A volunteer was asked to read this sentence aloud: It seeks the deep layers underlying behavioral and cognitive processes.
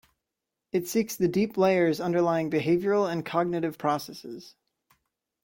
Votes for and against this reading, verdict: 2, 0, accepted